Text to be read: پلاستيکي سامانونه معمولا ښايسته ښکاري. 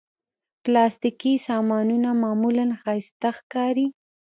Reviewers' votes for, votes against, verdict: 0, 2, rejected